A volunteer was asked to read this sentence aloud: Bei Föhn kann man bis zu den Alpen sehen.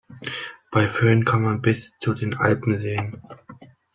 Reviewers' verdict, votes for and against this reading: accepted, 2, 0